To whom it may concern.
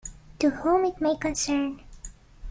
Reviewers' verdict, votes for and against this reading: accepted, 2, 0